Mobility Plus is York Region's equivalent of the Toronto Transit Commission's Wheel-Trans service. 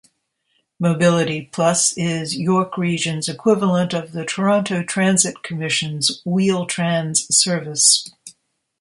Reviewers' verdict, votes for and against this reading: accepted, 2, 0